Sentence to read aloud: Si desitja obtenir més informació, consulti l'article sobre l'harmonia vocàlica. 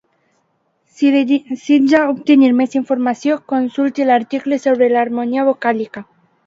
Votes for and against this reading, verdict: 2, 0, accepted